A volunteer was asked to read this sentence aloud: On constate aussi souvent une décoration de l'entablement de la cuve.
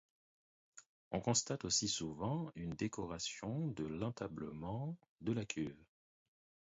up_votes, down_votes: 4, 0